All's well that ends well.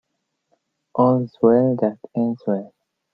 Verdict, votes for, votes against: accepted, 2, 0